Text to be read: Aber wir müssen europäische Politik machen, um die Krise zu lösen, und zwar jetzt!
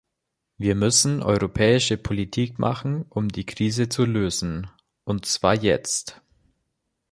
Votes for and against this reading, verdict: 0, 2, rejected